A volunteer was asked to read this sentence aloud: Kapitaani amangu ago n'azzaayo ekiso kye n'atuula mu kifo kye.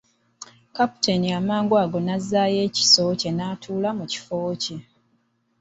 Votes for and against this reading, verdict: 3, 1, accepted